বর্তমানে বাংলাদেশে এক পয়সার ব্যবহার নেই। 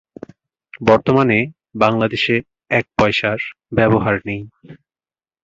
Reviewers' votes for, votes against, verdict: 2, 0, accepted